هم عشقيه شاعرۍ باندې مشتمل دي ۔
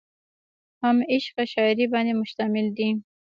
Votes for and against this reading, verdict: 1, 2, rejected